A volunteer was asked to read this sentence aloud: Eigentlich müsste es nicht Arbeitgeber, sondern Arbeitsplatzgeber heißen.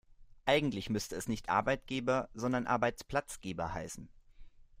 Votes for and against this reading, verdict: 2, 0, accepted